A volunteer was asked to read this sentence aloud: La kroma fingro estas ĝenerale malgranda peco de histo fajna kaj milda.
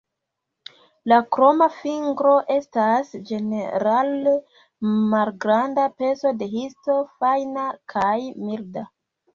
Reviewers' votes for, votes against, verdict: 1, 2, rejected